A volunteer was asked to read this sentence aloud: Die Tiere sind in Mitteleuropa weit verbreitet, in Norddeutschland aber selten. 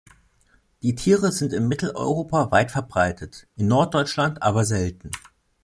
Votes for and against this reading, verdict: 2, 0, accepted